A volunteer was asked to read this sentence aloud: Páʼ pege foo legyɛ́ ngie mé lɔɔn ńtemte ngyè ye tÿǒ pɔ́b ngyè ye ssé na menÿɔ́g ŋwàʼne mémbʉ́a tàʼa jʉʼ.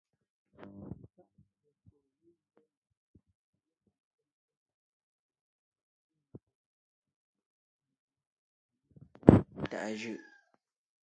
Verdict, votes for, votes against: rejected, 0, 2